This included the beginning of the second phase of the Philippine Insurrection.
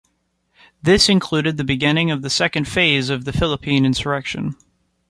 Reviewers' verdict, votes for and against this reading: accepted, 2, 1